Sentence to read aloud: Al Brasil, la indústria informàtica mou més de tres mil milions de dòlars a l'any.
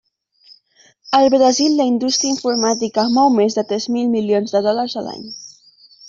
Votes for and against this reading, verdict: 2, 0, accepted